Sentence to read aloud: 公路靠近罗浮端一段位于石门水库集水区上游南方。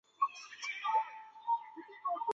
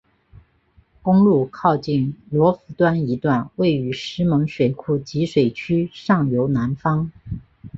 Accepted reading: second